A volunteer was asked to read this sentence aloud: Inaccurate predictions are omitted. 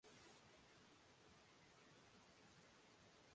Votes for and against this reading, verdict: 0, 2, rejected